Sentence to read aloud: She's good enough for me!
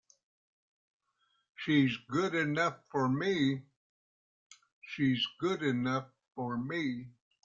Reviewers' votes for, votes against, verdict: 2, 3, rejected